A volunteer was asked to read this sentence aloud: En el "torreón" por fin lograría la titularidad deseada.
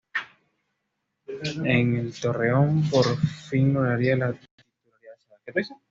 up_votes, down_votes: 1, 2